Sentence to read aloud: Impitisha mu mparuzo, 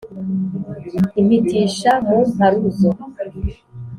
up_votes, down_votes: 3, 0